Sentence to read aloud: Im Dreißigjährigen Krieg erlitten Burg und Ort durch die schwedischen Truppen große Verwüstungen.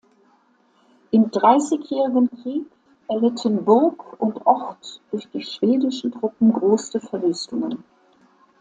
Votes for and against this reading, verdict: 2, 0, accepted